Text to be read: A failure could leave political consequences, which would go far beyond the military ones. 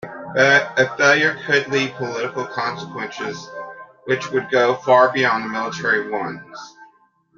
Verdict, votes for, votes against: accepted, 2, 1